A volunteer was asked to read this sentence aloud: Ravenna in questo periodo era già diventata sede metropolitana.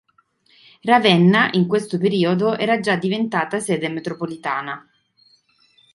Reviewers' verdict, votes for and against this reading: accepted, 2, 0